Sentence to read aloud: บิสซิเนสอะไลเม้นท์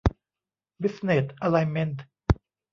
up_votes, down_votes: 0, 2